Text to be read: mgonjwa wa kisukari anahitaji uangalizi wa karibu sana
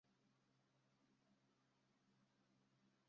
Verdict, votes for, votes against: rejected, 0, 2